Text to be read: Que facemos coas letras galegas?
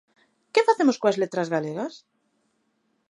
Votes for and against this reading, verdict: 2, 0, accepted